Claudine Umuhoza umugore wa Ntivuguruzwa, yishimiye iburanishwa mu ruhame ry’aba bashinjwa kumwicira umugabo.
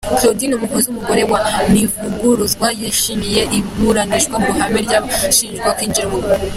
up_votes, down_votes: 1, 2